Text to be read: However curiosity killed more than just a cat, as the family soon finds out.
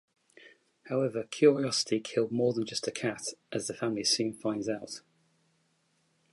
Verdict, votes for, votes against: accepted, 2, 0